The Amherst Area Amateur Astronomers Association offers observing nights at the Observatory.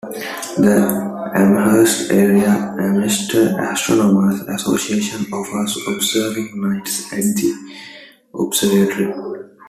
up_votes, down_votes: 2, 1